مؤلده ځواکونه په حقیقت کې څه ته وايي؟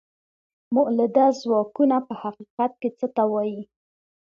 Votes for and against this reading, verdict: 2, 0, accepted